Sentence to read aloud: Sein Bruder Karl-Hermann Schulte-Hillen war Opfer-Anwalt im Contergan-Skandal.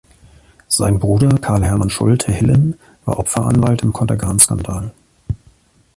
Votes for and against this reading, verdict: 2, 1, accepted